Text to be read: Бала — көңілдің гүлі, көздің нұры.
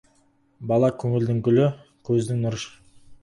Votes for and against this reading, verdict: 4, 0, accepted